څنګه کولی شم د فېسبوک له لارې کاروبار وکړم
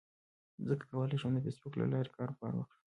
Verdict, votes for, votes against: rejected, 1, 2